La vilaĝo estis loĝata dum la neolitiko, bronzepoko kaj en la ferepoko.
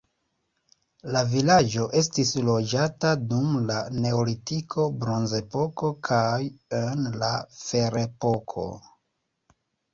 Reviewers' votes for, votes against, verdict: 2, 0, accepted